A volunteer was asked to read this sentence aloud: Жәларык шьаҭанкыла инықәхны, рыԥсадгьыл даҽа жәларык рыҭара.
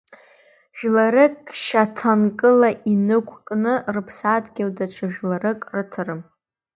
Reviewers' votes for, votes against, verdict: 1, 2, rejected